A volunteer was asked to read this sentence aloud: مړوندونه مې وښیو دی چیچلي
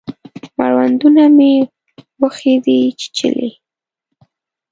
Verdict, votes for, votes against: rejected, 1, 2